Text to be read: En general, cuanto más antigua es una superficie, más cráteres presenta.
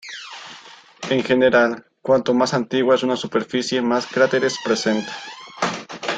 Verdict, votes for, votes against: rejected, 1, 2